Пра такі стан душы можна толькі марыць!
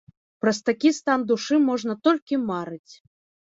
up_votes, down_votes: 1, 2